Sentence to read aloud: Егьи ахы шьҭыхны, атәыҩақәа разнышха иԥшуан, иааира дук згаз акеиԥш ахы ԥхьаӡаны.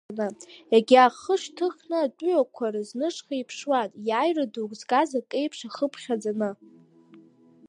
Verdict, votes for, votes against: rejected, 1, 2